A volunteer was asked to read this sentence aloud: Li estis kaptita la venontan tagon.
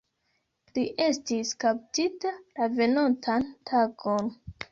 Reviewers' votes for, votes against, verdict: 2, 0, accepted